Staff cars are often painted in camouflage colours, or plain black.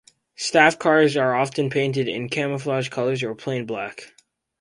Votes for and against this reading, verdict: 4, 0, accepted